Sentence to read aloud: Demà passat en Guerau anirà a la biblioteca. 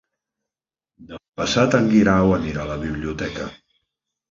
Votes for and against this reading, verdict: 0, 2, rejected